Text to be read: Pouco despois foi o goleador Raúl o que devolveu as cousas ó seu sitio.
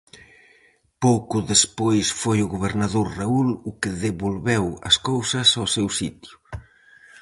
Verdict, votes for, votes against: rejected, 2, 2